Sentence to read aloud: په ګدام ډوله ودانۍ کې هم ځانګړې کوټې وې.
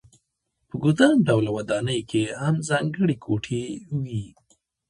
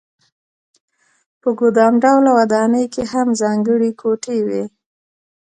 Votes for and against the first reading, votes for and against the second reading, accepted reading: 1, 2, 2, 1, second